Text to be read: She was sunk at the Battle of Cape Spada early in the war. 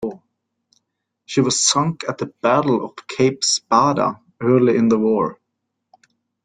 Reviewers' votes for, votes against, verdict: 1, 2, rejected